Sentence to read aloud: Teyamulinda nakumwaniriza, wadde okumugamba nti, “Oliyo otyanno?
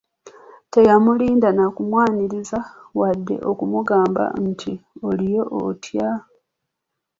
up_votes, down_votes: 1, 2